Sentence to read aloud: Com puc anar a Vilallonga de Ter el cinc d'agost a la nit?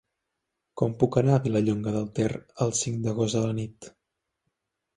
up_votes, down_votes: 1, 2